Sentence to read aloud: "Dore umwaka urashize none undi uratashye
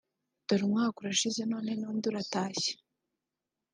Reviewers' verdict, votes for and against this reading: rejected, 1, 2